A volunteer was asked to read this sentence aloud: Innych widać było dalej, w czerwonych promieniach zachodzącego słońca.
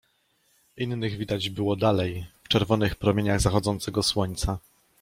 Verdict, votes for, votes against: accepted, 2, 0